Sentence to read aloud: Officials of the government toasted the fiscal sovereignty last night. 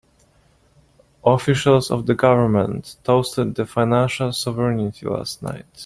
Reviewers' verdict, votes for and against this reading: rejected, 1, 2